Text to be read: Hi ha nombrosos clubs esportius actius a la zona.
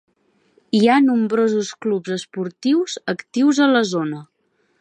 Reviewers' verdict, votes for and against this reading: accepted, 5, 0